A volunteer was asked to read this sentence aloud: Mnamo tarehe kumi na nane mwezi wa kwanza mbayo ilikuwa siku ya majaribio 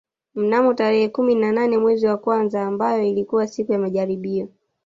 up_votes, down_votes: 1, 2